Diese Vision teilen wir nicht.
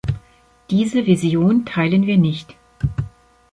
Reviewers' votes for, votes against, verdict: 2, 0, accepted